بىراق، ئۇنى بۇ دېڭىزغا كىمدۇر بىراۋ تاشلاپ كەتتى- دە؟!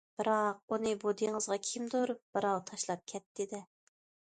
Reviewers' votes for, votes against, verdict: 2, 0, accepted